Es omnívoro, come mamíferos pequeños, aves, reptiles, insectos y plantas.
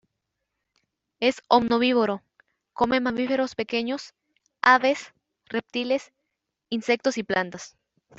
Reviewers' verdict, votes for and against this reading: rejected, 0, 2